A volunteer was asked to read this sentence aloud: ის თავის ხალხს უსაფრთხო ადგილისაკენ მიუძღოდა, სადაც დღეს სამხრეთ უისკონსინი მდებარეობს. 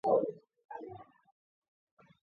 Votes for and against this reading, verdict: 0, 2, rejected